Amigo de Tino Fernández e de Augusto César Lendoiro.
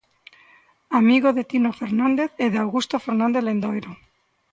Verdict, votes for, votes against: rejected, 0, 2